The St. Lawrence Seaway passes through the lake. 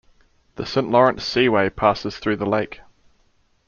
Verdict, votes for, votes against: accepted, 2, 0